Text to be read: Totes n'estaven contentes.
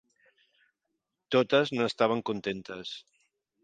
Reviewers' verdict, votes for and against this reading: accepted, 4, 0